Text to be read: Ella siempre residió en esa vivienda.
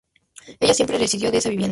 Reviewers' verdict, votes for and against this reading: rejected, 0, 2